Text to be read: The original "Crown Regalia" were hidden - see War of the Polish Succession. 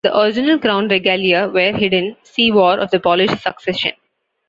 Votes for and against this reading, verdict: 2, 1, accepted